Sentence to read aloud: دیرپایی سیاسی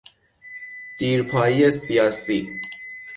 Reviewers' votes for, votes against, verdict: 6, 0, accepted